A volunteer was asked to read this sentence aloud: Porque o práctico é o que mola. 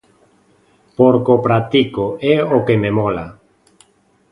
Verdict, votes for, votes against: rejected, 0, 2